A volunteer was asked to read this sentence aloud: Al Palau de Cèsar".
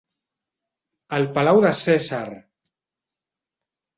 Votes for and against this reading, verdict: 0, 3, rejected